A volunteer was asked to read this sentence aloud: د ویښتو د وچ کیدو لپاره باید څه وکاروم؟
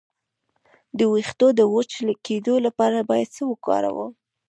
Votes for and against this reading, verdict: 0, 2, rejected